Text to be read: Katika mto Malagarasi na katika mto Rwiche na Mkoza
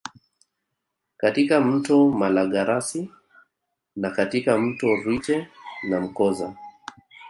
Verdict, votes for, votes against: rejected, 1, 2